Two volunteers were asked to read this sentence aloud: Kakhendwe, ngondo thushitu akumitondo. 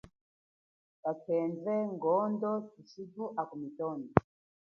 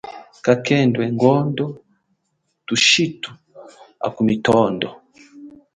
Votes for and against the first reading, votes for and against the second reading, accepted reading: 3, 0, 1, 2, first